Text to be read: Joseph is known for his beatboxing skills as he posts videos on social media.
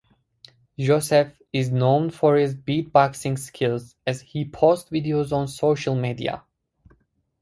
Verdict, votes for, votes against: rejected, 0, 2